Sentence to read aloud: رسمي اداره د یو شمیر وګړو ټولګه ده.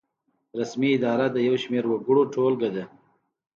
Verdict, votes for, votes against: accepted, 2, 0